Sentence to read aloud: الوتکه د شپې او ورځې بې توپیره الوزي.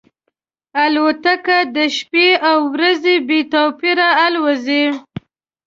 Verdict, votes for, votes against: accepted, 2, 0